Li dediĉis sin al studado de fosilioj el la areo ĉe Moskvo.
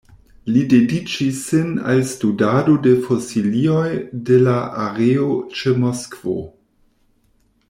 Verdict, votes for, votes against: rejected, 0, 2